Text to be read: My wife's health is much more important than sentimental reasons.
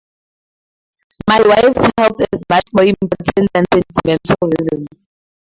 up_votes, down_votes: 2, 0